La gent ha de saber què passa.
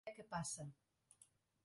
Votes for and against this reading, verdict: 0, 2, rejected